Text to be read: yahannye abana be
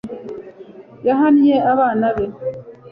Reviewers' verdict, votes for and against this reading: accepted, 2, 0